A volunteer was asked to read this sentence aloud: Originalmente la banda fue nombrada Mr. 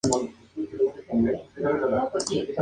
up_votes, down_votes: 0, 2